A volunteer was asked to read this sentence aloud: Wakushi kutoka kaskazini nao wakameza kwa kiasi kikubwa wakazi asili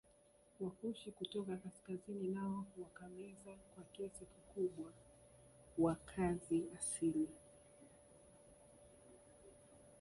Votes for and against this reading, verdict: 1, 2, rejected